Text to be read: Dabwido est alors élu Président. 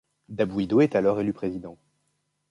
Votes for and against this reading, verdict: 2, 0, accepted